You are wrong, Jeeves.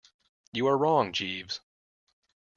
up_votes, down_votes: 2, 0